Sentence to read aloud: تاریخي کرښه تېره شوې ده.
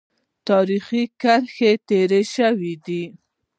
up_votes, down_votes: 1, 2